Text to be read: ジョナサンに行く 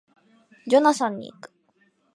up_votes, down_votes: 2, 0